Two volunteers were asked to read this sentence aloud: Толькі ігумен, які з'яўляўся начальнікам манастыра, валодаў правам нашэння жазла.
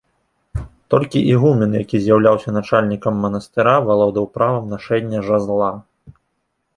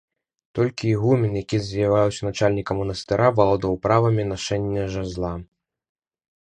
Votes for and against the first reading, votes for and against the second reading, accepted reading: 2, 0, 1, 2, first